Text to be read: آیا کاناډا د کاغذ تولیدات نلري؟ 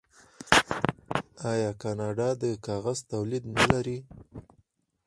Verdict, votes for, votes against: accepted, 4, 2